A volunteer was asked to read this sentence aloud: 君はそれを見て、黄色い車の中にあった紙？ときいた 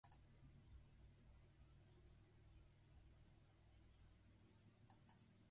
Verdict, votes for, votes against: rejected, 0, 2